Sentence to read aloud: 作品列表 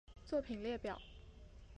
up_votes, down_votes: 4, 3